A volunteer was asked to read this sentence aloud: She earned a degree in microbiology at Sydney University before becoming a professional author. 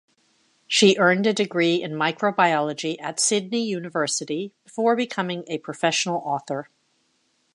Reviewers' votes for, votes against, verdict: 2, 0, accepted